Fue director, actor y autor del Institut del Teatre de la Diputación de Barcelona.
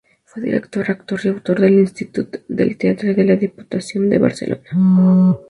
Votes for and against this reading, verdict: 2, 0, accepted